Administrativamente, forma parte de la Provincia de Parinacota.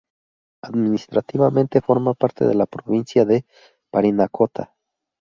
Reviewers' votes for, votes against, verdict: 2, 0, accepted